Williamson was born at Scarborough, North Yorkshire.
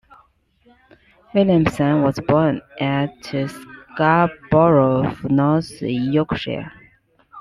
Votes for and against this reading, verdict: 2, 1, accepted